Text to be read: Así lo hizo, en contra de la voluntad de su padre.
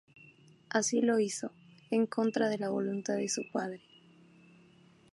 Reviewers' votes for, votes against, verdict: 4, 0, accepted